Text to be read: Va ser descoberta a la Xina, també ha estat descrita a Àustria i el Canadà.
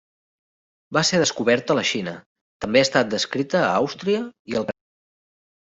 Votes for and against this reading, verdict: 0, 2, rejected